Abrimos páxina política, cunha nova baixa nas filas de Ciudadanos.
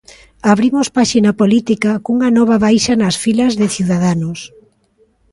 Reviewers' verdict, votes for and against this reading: accepted, 2, 0